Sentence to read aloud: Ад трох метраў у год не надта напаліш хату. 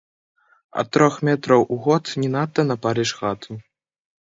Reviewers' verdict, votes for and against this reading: rejected, 0, 2